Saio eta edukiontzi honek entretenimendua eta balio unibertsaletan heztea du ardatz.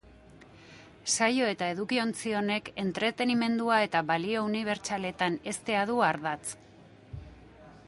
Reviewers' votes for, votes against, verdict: 2, 0, accepted